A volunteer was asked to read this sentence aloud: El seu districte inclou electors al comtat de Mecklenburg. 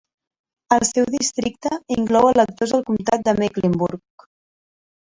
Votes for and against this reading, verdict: 1, 2, rejected